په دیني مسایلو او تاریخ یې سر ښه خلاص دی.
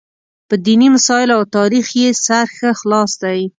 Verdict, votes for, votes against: accepted, 2, 0